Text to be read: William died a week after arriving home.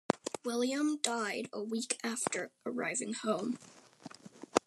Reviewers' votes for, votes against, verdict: 1, 2, rejected